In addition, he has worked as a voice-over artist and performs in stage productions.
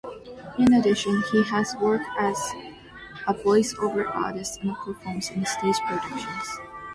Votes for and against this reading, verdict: 2, 0, accepted